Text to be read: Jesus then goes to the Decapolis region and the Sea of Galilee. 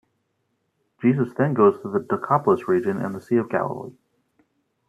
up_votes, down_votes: 2, 0